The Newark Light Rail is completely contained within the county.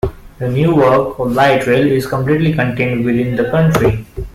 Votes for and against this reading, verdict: 2, 1, accepted